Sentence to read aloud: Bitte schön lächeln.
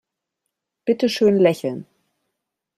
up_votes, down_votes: 2, 0